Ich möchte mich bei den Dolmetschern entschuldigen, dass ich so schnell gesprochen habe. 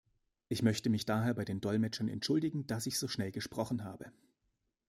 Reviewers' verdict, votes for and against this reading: rejected, 0, 2